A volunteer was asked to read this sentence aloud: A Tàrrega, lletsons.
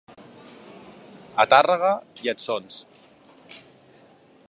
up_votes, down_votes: 3, 0